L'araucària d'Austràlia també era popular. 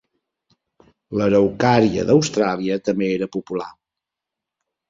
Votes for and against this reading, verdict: 2, 0, accepted